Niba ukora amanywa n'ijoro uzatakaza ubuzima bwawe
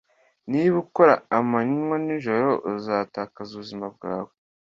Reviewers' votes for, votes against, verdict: 2, 0, accepted